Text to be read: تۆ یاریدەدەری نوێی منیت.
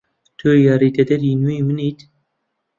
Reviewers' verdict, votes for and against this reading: accepted, 2, 0